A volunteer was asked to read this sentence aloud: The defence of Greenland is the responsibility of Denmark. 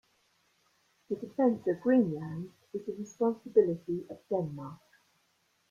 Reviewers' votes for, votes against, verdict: 2, 0, accepted